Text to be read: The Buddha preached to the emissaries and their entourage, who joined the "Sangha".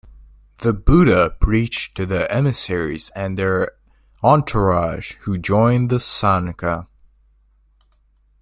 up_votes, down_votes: 2, 0